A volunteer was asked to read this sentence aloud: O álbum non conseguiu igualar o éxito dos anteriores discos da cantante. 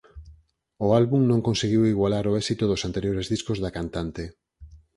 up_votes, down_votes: 4, 0